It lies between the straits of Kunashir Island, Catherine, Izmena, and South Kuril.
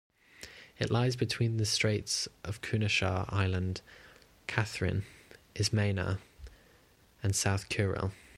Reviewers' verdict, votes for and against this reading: accepted, 2, 0